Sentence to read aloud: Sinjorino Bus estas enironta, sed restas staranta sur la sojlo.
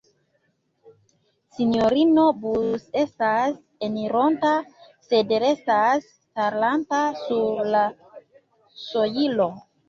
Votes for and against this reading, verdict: 2, 3, rejected